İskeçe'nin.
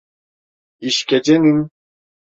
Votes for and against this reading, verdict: 1, 2, rejected